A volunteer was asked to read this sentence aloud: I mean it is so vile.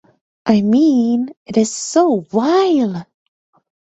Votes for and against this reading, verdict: 1, 2, rejected